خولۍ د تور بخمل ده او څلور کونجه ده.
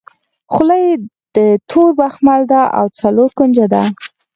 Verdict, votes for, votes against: accepted, 4, 0